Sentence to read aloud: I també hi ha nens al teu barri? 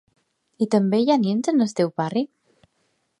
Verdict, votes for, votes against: rejected, 0, 2